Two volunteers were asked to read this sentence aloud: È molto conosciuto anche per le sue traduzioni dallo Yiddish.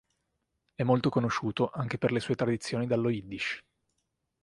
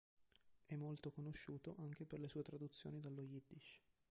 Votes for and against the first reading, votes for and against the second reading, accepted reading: 5, 3, 0, 2, first